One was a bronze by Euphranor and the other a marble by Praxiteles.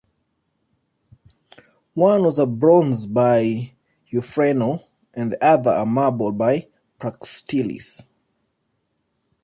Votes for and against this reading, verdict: 1, 2, rejected